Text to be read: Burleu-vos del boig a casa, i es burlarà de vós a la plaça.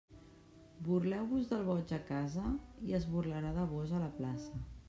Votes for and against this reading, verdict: 0, 2, rejected